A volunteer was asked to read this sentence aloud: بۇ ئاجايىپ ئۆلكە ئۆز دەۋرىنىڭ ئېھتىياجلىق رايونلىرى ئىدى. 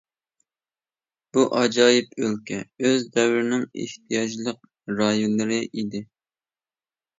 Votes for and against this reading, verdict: 2, 0, accepted